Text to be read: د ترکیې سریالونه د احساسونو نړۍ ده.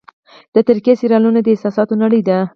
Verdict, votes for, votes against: accepted, 4, 2